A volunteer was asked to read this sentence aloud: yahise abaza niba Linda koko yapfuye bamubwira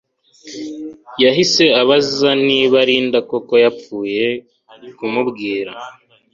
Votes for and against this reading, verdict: 2, 0, accepted